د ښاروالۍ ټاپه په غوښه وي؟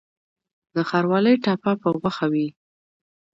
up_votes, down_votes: 2, 0